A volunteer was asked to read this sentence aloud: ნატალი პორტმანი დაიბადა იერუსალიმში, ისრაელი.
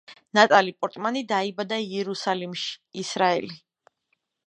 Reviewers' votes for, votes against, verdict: 2, 0, accepted